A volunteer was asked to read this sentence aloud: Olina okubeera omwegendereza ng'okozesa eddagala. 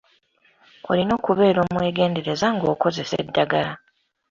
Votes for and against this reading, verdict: 2, 0, accepted